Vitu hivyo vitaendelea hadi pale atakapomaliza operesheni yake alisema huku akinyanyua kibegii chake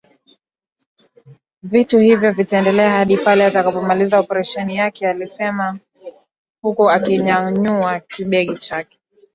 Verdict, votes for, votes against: rejected, 3, 4